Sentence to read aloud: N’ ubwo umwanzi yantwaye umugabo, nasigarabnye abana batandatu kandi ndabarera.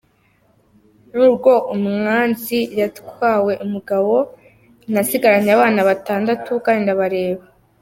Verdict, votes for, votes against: rejected, 1, 2